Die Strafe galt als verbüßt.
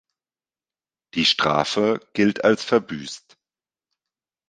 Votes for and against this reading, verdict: 0, 2, rejected